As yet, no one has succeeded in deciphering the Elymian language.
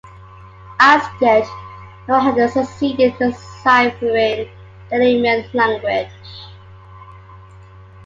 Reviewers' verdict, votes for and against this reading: accepted, 2, 1